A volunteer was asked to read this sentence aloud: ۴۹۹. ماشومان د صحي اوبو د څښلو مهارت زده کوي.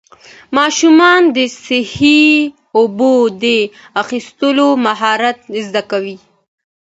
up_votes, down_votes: 0, 2